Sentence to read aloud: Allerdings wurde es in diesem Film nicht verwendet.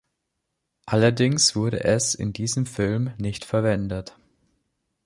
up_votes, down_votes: 2, 0